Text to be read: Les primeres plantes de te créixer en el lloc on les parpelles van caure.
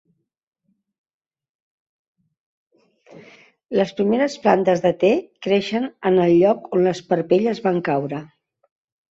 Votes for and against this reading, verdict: 1, 2, rejected